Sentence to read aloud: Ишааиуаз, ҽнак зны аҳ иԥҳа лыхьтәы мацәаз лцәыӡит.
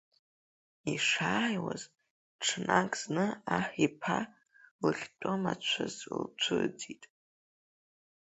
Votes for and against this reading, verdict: 3, 2, accepted